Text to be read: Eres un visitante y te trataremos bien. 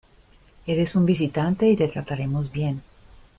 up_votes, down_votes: 2, 0